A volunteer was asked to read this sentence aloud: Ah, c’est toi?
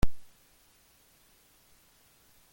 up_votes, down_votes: 0, 2